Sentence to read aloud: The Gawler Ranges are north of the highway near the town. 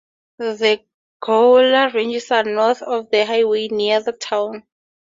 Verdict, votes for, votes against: rejected, 0, 4